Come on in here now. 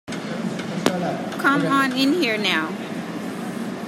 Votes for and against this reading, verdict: 1, 2, rejected